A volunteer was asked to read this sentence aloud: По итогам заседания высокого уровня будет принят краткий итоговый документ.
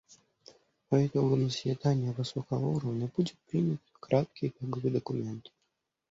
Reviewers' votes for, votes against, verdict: 1, 2, rejected